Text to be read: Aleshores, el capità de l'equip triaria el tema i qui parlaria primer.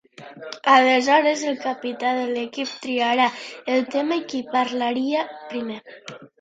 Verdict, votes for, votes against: rejected, 1, 3